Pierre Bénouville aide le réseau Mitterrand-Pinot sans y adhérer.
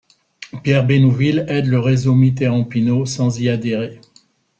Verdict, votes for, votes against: accepted, 2, 0